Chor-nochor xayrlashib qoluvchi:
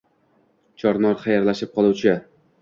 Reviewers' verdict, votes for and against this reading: rejected, 1, 2